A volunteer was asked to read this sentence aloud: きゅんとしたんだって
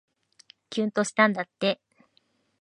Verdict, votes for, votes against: accepted, 2, 0